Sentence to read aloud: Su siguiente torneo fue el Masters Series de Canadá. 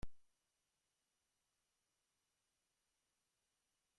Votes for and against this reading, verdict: 1, 2, rejected